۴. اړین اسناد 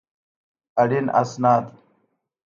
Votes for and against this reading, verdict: 0, 2, rejected